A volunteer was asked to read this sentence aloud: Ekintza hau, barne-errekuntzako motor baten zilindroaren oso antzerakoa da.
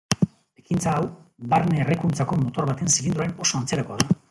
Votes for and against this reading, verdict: 2, 0, accepted